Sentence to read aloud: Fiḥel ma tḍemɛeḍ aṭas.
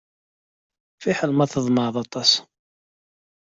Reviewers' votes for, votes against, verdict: 2, 0, accepted